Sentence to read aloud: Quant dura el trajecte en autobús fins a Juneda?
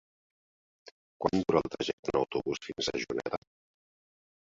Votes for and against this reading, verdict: 2, 4, rejected